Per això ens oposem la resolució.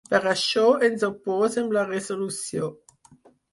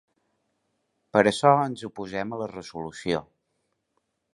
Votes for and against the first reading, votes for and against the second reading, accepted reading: 0, 4, 2, 0, second